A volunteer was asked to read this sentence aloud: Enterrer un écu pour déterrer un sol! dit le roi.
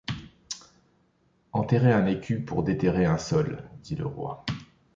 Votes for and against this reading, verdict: 2, 0, accepted